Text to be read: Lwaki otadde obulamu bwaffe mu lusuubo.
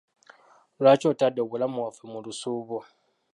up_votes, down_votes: 0, 2